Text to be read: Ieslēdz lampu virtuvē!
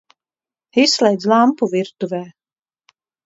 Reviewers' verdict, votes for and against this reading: rejected, 1, 2